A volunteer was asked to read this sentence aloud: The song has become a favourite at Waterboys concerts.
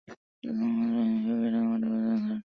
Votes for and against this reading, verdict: 0, 3, rejected